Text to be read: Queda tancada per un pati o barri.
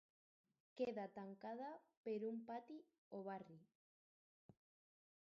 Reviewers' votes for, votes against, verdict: 0, 2, rejected